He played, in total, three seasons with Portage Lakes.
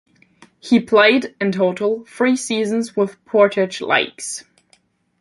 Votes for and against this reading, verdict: 2, 1, accepted